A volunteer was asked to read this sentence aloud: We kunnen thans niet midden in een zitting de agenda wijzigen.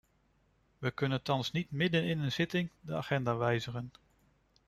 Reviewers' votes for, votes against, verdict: 2, 0, accepted